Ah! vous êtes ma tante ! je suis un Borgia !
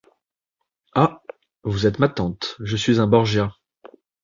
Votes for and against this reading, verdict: 2, 1, accepted